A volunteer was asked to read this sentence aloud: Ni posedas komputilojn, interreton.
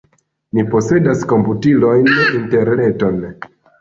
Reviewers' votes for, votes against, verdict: 2, 0, accepted